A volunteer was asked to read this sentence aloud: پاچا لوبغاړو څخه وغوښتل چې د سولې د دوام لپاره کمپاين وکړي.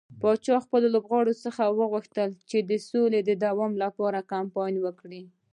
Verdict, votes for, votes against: rejected, 1, 2